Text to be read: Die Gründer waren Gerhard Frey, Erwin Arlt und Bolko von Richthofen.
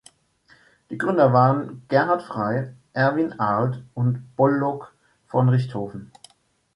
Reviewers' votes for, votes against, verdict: 0, 2, rejected